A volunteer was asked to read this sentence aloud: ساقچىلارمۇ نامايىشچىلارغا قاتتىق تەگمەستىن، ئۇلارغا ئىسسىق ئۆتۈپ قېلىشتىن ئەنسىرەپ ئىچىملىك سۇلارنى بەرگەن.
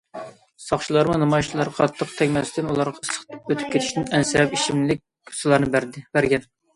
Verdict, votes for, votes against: rejected, 0, 2